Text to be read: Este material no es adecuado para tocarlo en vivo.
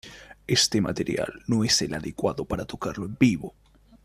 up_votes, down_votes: 0, 2